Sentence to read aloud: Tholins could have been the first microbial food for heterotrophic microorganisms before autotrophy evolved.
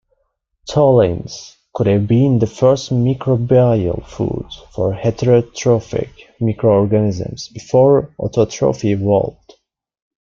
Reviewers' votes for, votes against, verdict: 2, 1, accepted